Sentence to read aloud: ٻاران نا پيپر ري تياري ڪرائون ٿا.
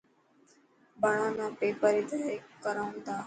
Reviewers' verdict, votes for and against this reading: accepted, 5, 0